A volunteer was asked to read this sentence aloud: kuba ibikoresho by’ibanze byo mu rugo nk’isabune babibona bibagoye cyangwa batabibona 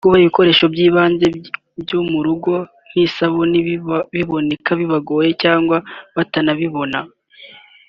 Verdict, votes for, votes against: rejected, 1, 3